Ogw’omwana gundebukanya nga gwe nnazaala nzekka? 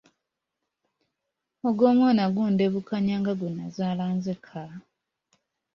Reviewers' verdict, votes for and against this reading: accepted, 2, 0